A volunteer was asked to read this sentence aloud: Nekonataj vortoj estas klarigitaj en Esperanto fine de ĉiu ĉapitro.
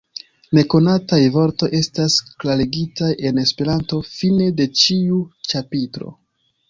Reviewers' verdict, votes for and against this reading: rejected, 2, 3